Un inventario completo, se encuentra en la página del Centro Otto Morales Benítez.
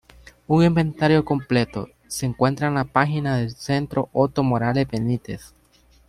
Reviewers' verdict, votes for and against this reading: accepted, 2, 0